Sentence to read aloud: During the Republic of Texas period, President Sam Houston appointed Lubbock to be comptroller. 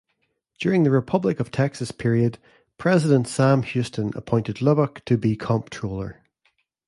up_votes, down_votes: 2, 1